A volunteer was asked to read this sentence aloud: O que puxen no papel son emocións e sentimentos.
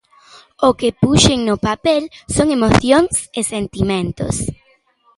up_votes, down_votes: 2, 0